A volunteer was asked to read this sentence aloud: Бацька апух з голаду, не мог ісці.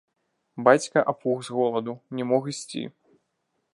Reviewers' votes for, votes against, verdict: 0, 2, rejected